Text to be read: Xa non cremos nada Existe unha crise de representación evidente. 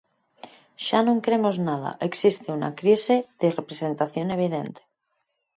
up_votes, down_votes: 2, 4